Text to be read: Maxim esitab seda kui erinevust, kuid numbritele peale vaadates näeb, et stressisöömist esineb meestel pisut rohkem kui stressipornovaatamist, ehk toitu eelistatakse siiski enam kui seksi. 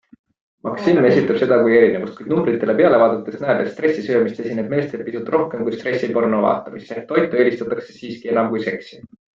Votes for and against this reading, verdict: 0, 2, rejected